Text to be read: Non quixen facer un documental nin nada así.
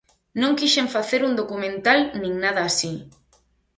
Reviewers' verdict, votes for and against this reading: accepted, 4, 0